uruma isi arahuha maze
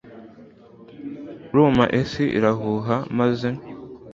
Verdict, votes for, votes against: accepted, 2, 0